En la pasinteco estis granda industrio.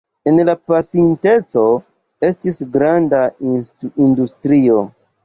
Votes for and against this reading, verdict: 1, 2, rejected